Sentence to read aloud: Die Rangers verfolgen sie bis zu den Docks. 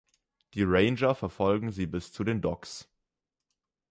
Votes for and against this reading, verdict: 1, 3, rejected